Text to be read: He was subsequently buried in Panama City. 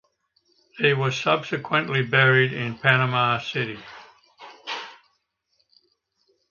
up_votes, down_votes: 2, 0